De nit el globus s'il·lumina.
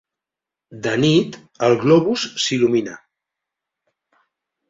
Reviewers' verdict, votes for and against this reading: accepted, 3, 0